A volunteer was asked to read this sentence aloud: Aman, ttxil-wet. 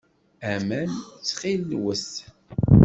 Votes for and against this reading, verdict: 2, 0, accepted